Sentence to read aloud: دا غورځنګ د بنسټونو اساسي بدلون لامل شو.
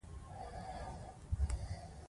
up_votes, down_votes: 1, 2